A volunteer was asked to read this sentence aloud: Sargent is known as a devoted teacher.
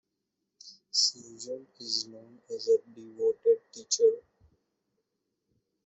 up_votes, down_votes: 1, 2